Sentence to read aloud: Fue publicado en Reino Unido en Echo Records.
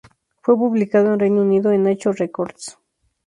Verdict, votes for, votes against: rejected, 0, 2